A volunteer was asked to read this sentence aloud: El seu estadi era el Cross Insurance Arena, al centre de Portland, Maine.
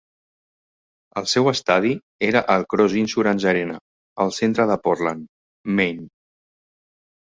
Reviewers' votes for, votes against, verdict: 2, 0, accepted